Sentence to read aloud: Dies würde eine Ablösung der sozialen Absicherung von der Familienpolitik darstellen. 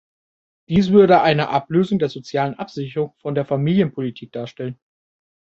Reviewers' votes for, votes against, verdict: 2, 0, accepted